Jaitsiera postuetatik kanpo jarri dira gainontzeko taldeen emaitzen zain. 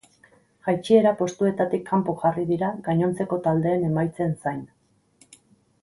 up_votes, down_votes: 6, 0